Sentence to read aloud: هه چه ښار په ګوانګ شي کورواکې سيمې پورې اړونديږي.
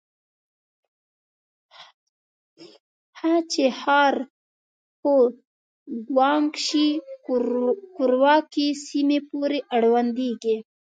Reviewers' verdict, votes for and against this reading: rejected, 1, 2